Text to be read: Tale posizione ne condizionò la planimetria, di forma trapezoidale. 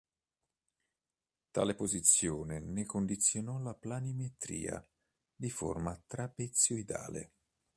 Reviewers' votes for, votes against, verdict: 1, 2, rejected